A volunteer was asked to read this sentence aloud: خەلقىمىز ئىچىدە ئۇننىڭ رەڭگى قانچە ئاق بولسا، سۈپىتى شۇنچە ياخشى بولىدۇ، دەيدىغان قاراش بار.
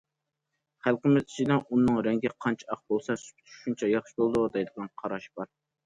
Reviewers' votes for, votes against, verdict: 1, 2, rejected